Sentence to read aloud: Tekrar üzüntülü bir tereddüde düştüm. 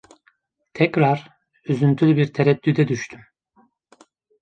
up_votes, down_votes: 2, 0